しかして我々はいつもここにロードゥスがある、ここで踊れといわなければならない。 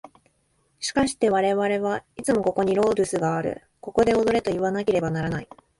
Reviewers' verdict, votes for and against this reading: rejected, 1, 2